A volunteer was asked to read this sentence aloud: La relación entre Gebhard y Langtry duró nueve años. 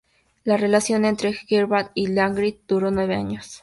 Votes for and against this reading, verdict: 4, 0, accepted